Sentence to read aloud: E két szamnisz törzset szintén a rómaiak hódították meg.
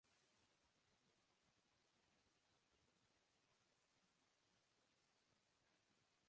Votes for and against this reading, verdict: 0, 2, rejected